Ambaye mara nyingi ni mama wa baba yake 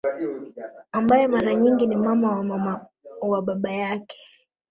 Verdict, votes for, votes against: rejected, 0, 2